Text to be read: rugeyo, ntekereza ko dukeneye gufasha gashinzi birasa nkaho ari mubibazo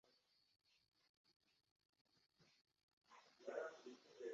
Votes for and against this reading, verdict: 0, 2, rejected